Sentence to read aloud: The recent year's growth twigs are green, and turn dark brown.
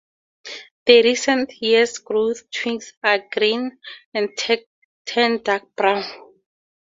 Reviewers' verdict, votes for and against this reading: rejected, 2, 2